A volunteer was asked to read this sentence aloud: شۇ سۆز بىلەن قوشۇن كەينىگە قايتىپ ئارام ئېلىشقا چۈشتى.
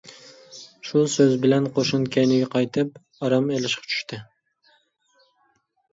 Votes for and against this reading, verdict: 2, 0, accepted